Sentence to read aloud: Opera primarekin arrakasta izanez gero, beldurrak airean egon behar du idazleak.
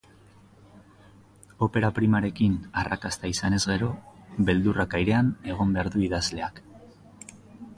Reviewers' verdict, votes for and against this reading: accepted, 3, 0